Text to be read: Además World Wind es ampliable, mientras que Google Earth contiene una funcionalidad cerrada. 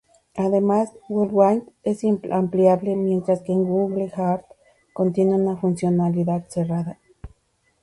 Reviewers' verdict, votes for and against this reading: rejected, 0, 2